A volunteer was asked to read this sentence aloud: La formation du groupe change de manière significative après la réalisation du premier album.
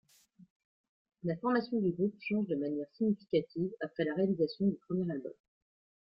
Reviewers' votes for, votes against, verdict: 2, 1, accepted